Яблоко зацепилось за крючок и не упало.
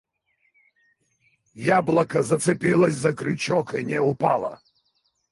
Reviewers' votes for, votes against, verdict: 2, 4, rejected